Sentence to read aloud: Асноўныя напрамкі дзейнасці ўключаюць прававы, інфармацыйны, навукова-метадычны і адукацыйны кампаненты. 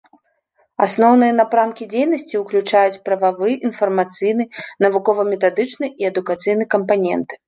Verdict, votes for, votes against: accepted, 2, 0